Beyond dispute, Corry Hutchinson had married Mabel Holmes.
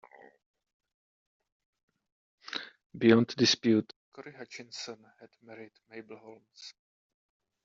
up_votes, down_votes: 1, 2